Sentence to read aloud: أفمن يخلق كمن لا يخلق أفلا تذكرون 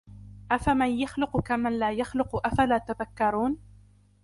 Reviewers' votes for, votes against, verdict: 1, 2, rejected